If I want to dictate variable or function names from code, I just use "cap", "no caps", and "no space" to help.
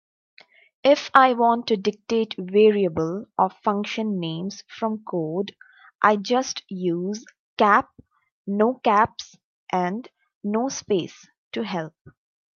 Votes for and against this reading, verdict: 2, 0, accepted